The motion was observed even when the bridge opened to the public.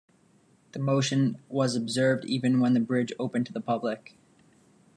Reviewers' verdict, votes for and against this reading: accepted, 2, 0